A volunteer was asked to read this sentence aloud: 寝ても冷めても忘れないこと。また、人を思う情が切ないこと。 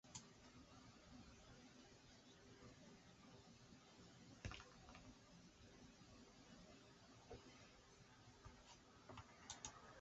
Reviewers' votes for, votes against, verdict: 0, 2, rejected